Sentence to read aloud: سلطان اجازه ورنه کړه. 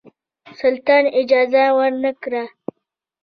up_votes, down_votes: 0, 2